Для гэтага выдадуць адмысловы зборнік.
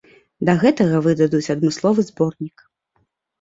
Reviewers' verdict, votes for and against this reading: rejected, 1, 2